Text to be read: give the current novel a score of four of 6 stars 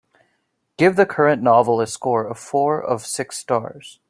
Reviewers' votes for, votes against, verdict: 0, 2, rejected